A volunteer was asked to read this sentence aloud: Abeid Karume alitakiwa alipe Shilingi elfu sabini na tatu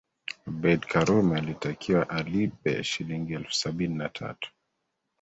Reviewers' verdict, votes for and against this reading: accepted, 2, 1